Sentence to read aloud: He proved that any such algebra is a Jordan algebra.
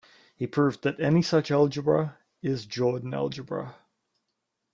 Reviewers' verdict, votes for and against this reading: rejected, 1, 2